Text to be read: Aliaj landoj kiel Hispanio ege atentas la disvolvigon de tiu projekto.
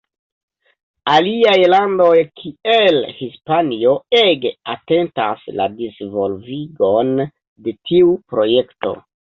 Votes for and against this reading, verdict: 3, 1, accepted